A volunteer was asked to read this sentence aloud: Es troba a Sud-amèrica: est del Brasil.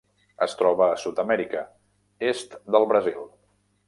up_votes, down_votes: 3, 0